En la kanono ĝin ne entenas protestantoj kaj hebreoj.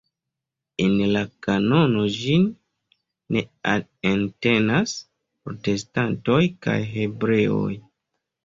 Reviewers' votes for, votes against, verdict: 0, 2, rejected